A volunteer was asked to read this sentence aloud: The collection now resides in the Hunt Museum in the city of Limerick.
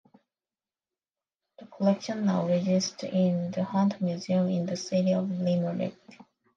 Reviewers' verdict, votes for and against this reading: rejected, 0, 2